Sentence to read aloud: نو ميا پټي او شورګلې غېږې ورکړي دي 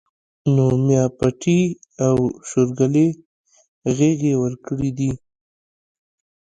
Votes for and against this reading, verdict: 2, 0, accepted